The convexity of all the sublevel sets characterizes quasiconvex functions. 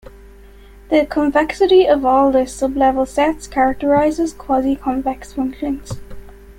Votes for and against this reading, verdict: 2, 1, accepted